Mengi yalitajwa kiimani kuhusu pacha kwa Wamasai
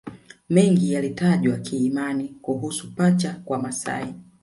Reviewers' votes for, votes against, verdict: 0, 2, rejected